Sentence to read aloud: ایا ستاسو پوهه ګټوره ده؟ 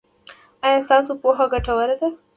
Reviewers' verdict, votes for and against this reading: accepted, 2, 0